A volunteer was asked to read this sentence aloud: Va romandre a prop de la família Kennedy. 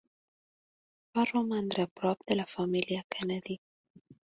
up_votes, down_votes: 3, 0